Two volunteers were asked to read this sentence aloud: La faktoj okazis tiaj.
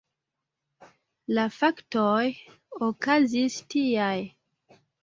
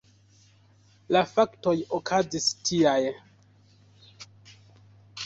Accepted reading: first